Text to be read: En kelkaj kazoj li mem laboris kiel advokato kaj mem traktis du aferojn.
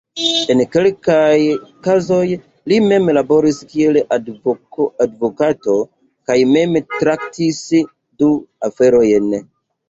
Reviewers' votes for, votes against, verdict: 2, 3, rejected